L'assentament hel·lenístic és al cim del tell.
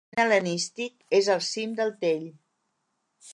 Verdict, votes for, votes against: rejected, 0, 2